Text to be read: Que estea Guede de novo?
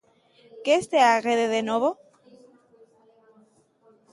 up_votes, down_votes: 2, 0